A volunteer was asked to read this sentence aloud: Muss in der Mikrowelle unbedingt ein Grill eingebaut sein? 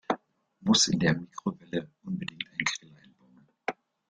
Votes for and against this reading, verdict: 0, 2, rejected